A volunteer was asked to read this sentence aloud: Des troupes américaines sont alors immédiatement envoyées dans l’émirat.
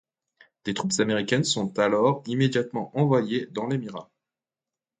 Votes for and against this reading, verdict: 2, 0, accepted